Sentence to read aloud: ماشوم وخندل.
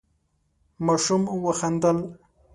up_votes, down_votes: 7, 0